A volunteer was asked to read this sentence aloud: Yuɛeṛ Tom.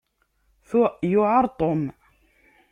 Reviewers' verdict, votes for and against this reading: rejected, 1, 2